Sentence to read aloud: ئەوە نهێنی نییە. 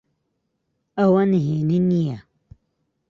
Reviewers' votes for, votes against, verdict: 2, 0, accepted